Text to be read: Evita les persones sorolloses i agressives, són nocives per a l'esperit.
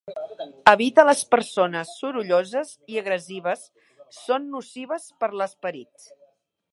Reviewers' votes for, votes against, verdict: 1, 2, rejected